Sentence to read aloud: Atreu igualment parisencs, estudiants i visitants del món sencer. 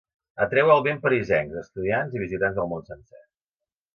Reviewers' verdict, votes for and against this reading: rejected, 2, 3